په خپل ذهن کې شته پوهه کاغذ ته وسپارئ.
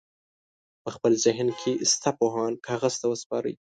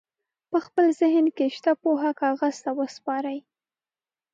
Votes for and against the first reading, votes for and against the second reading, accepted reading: 1, 2, 2, 0, second